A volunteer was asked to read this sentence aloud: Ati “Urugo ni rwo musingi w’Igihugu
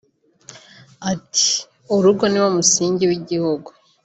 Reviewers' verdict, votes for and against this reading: rejected, 1, 2